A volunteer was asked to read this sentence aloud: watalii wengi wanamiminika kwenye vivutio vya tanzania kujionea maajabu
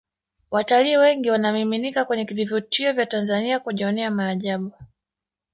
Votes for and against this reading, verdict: 2, 0, accepted